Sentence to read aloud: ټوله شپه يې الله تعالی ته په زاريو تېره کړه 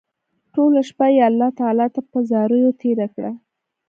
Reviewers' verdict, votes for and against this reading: accepted, 2, 0